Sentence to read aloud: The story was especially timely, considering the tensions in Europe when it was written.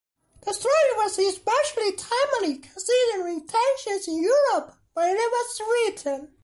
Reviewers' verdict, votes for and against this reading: accepted, 2, 1